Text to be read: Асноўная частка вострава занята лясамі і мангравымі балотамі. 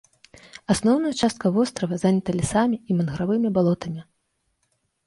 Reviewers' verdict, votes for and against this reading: accepted, 2, 0